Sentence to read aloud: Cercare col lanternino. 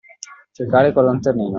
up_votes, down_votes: 2, 0